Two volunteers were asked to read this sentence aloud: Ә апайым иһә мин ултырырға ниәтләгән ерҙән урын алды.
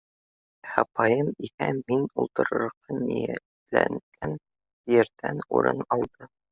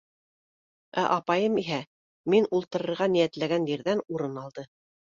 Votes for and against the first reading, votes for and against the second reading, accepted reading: 0, 2, 2, 0, second